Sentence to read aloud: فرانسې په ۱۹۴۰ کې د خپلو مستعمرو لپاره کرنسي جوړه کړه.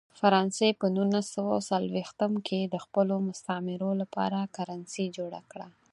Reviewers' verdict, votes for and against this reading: rejected, 0, 2